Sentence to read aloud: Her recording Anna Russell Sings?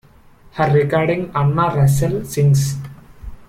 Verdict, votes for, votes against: rejected, 1, 2